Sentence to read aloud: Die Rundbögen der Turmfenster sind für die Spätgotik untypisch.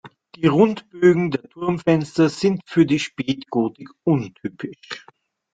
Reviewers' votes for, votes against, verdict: 1, 2, rejected